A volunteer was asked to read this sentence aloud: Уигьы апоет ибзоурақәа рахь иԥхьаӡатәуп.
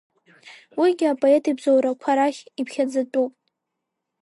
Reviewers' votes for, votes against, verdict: 2, 0, accepted